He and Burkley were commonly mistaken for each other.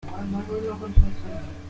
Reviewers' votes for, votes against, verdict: 0, 2, rejected